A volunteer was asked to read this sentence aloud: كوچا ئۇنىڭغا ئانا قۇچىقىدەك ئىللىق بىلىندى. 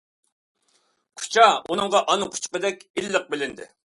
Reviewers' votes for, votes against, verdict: 2, 1, accepted